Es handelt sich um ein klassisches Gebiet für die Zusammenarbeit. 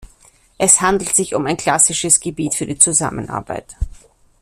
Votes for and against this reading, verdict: 2, 0, accepted